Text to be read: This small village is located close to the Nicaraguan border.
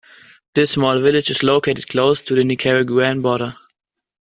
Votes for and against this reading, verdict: 2, 0, accepted